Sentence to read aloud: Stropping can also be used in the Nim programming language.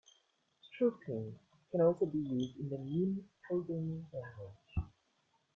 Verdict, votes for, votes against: accepted, 2, 1